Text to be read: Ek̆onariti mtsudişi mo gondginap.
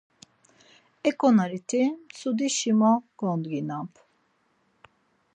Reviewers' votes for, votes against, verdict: 4, 0, accepted